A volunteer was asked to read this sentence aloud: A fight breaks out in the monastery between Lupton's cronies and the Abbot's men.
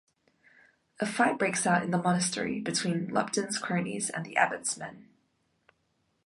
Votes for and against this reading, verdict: 2, 0, accepted